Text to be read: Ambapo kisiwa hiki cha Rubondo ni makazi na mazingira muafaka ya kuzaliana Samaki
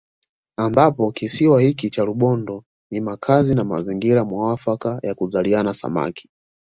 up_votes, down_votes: 2, 0